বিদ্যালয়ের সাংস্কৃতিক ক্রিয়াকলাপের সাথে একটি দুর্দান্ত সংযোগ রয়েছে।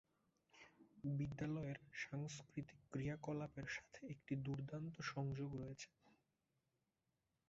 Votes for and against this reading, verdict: 0, 5, rejected